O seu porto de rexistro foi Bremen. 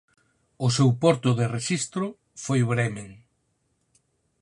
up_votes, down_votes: 4, 0